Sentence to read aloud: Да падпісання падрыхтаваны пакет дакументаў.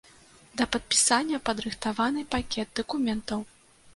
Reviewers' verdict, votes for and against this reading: accepted, 2, 0